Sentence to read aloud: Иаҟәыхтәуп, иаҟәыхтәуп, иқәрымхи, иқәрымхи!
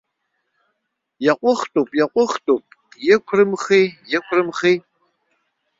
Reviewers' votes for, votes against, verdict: 2, 0, accepted